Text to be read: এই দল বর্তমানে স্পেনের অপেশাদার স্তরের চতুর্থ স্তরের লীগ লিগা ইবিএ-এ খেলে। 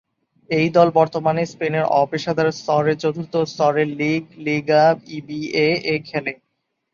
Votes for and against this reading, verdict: 2, 0, accepted